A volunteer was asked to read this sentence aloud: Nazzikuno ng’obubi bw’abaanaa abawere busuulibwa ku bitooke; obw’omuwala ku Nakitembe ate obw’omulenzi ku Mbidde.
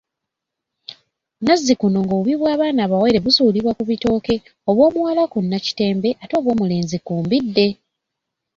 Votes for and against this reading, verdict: 2, 0, accepted